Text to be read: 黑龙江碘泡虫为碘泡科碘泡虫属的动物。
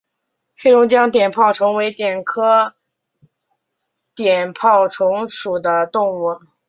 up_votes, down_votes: 0, 3